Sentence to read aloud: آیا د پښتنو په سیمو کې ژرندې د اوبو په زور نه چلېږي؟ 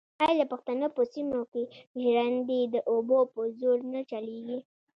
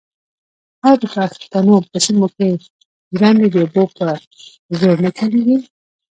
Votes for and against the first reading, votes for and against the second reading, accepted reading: 2, 0, 0, 2, first